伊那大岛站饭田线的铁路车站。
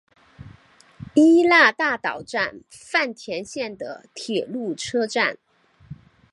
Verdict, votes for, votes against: accepted, 6, 0